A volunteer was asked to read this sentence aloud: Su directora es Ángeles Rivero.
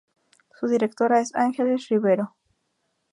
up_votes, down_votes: 0, 2